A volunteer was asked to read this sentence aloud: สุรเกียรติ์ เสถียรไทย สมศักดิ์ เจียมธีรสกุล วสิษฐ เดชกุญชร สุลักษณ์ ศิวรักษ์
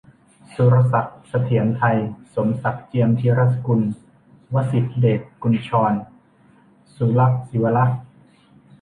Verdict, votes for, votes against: rejected, 1, 2